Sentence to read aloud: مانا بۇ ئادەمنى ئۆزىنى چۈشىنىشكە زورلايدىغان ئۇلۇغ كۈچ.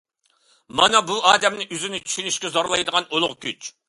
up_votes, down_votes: 2, 0